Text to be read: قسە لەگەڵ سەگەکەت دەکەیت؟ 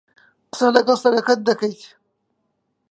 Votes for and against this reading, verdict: 1, 2, rejected